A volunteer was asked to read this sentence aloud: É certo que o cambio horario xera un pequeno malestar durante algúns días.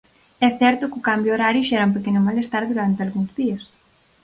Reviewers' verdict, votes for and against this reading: accepted, 4, 0